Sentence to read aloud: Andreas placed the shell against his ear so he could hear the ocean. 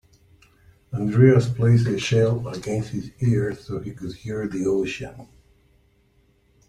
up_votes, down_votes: 2, 1